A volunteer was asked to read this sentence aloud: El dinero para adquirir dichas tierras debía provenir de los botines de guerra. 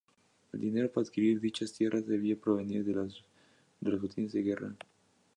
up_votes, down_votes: 0, 2